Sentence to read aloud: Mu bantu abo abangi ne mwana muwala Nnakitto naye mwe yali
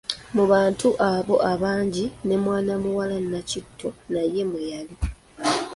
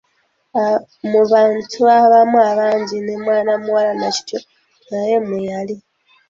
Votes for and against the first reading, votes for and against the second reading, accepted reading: 2, 0, 1, 2, first